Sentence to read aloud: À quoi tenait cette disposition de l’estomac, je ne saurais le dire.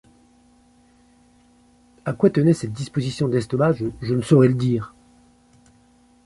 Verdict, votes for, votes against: rejected, 0, 2